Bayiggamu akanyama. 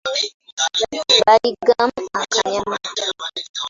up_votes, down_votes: 0, 2